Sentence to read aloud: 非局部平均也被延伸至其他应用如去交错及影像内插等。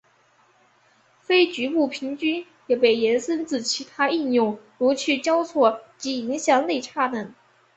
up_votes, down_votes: 3, 1